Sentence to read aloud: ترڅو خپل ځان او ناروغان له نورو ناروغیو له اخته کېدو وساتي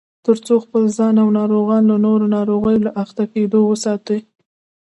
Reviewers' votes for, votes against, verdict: 0, 2, rejected